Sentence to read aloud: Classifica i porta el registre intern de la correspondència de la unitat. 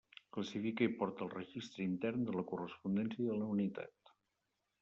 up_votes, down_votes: 1, 2